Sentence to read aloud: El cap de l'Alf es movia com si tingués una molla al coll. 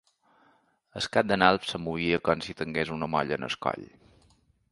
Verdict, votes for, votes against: rejected, 0, 2